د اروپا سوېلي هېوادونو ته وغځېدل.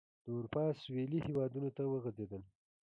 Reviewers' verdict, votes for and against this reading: accepted, 2, 1